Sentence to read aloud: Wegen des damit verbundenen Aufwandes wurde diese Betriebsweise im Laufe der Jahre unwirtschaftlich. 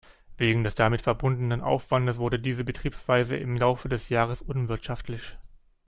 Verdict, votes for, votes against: rejected, 0, 2